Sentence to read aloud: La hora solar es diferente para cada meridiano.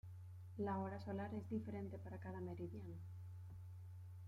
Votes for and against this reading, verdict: 1, 2, rejected